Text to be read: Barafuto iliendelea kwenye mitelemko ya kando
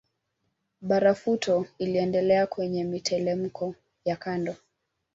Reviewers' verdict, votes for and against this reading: rejected, 1, 2